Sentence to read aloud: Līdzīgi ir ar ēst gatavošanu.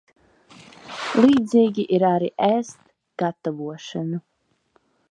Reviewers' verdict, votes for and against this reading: rejected, 0, 2